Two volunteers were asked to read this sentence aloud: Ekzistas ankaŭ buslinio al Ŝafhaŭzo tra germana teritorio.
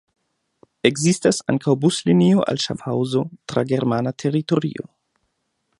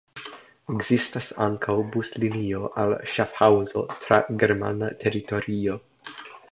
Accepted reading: first